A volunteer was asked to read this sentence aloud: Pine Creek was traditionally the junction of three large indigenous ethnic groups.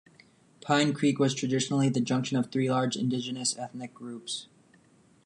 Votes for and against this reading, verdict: 2, 0, accepted